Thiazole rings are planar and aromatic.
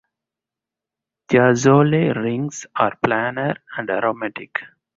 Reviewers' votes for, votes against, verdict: 4, 0, accepted